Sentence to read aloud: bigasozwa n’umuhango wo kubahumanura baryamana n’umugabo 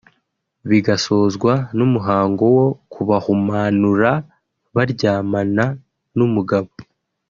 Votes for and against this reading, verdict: 2, 0, accepted